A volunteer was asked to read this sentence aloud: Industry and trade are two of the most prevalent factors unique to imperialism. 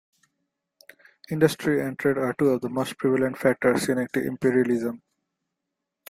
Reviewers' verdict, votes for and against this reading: accepted, 2, 0